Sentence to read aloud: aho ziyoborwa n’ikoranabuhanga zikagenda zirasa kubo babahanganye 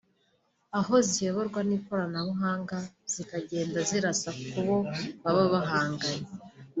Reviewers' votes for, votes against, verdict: 3, 0, accepted